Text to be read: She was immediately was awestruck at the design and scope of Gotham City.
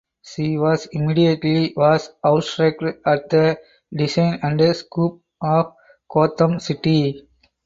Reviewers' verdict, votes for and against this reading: rejected, 0, 4